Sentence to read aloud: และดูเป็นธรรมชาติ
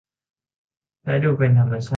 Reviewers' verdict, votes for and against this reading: rejected, 0, 2